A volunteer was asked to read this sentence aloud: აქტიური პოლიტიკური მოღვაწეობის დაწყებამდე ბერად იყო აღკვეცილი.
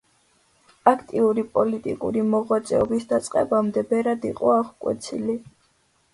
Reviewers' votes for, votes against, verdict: 2, 0, accepted